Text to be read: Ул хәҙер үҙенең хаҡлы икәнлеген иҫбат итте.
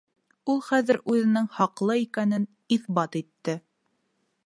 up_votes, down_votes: 1, 2